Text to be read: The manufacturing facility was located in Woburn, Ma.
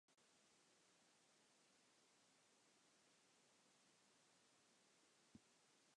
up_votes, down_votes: 0, 2